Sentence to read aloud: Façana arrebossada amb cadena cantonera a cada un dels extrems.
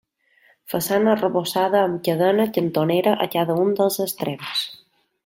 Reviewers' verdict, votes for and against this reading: accepted, 2, 0